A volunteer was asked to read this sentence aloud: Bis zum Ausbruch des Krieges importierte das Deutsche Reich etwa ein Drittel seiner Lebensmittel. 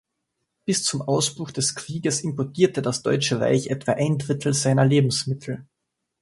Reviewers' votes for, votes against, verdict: 2, 0, accepted